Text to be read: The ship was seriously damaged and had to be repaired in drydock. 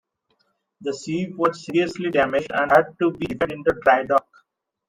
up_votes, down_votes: 0, 2